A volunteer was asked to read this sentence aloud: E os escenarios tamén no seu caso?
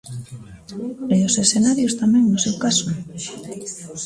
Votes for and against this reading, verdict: 1, 2, rejected